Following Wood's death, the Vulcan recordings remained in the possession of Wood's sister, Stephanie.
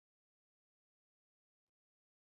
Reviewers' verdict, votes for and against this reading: rejected, 0, 3